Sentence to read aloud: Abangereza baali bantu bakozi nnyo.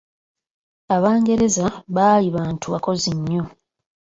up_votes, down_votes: 2, 1